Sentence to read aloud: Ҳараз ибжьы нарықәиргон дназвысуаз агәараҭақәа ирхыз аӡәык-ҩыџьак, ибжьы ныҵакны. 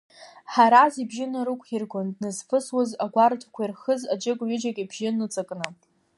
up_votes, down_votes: 2, 0